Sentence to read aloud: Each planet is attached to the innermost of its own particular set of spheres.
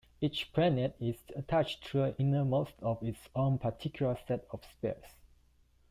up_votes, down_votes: 1, 2